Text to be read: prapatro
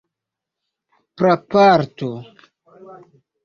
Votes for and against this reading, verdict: 1, 2, rejected